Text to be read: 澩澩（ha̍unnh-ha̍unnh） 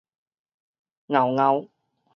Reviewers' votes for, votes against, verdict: 2, 2, rejected